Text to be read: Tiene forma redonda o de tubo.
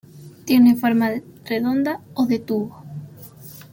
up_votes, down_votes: 0, 2